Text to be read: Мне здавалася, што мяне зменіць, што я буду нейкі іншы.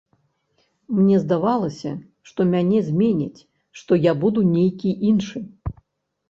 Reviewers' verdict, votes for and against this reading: accepted, 2, 0